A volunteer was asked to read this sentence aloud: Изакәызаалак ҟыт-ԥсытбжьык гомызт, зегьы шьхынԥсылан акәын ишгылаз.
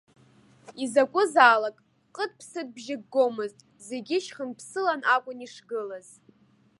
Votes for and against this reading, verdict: 2, 0, accepted